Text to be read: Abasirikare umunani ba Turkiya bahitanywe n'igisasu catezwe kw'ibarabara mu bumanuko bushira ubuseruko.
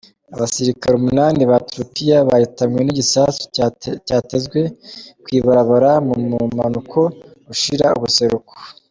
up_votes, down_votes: 2, 0